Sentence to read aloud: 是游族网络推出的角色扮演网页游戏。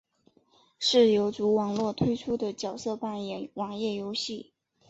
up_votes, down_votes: 2, 0